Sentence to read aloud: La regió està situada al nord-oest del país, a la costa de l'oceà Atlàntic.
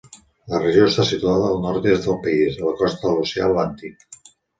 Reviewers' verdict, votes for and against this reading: rejected, 1, 2